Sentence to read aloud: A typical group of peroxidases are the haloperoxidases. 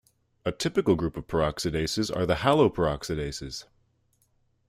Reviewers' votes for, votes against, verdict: 2, 0, accepted